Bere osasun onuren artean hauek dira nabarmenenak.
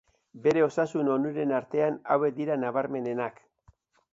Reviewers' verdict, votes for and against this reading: accepted, 2, 0